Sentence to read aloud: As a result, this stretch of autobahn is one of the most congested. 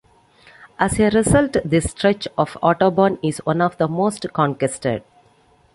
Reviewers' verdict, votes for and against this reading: rejected, 1, 2